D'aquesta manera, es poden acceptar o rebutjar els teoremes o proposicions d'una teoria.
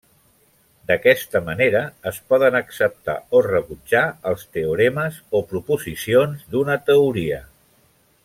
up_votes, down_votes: 3, 0